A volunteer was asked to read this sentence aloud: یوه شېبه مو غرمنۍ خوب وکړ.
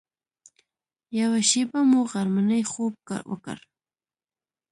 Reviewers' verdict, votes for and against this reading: rejected, 0, 2